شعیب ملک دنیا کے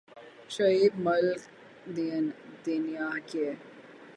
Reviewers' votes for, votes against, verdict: 3, 3, rejected